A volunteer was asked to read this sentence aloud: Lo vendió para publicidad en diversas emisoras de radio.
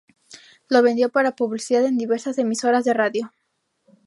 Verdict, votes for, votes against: rejected, 2, 2